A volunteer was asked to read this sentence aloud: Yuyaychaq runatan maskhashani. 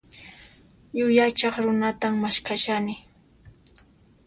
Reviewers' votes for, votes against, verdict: 2, 0, accepted